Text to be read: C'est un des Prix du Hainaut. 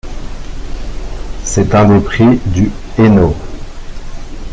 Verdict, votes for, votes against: rejected, 1, 2